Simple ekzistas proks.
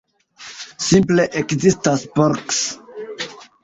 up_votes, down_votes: 1, 2